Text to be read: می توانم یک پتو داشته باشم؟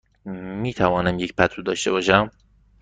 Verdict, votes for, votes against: accepted, 2, 0